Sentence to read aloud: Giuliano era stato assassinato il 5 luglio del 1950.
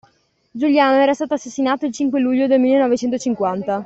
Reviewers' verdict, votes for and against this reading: rejected, 0, 2